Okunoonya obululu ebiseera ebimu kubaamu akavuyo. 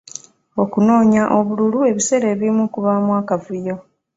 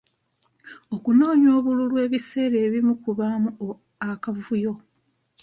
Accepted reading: first